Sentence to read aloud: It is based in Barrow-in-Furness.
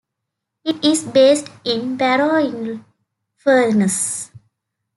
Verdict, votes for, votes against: accepted, 2, 0